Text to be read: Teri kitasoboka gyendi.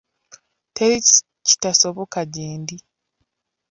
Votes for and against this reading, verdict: 1, 2, rejected